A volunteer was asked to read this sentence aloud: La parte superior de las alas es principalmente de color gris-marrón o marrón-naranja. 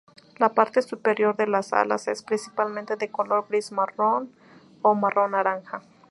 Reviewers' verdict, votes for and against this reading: accepted, 2, 0